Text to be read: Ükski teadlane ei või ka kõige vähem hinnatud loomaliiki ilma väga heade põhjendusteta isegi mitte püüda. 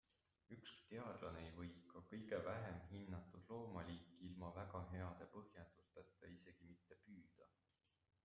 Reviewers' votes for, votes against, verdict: 0, 2, rejected